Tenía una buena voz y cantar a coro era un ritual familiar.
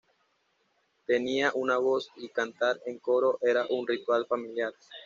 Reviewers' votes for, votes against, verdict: 1, 2, rejected